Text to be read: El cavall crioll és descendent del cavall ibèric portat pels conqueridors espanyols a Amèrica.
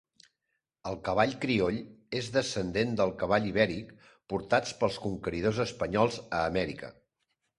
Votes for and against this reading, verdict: 1, 2, rejected